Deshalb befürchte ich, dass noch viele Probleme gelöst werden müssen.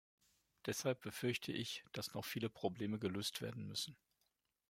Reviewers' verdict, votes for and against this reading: accepted, 2, 0